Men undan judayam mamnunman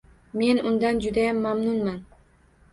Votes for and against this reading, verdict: 1, 2, rejected